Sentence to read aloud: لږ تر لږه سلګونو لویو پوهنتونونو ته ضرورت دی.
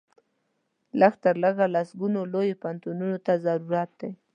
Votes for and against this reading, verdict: 2, 0, accepted